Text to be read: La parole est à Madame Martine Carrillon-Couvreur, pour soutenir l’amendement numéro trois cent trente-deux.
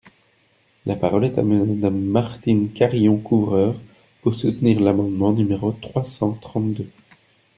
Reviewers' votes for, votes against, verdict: 1, 2, rejected